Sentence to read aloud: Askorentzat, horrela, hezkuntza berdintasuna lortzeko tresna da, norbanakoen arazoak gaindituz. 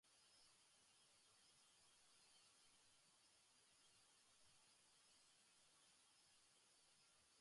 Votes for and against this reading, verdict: 0, 3, rejected